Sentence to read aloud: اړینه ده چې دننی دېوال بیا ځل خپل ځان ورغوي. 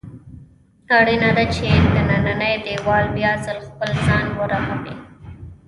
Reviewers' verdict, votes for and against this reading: rejected, 1, 2